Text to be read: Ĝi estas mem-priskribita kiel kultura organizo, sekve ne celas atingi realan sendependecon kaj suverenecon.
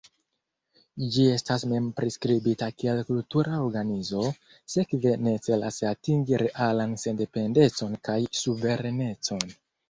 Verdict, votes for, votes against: accepted, 2, 0